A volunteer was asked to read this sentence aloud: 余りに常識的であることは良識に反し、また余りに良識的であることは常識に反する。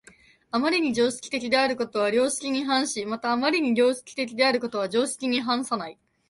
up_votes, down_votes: 0, 4